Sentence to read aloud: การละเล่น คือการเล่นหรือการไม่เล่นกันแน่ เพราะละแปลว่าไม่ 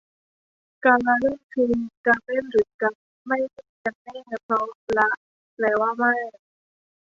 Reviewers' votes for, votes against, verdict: 1, 2, rejected